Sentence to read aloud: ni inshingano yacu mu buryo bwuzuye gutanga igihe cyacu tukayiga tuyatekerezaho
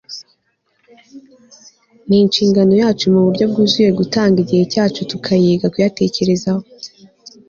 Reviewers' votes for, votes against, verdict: 2, 0, accepted